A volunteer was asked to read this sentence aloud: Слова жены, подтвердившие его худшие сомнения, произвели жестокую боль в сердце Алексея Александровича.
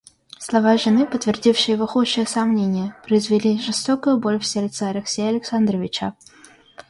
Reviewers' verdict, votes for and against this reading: rejected, 1, 2